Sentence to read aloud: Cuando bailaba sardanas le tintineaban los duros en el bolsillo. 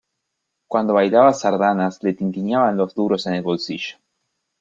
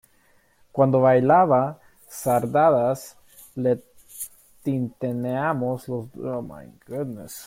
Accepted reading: first